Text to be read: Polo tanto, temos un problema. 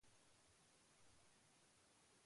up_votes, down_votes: 0, 2